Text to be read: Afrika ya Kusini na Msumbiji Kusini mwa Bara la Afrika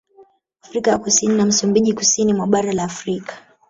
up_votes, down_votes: 1, 2